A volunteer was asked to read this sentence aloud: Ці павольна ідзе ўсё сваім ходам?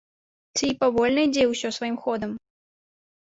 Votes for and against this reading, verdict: 2, 0, accepted